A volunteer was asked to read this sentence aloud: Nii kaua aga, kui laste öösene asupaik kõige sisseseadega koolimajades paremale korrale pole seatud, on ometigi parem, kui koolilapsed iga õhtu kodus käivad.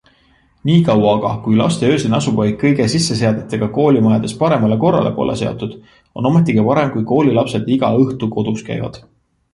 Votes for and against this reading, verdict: 1, 2, rejected